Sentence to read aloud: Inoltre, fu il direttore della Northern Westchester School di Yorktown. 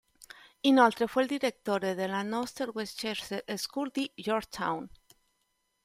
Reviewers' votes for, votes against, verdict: 1, 2, rejected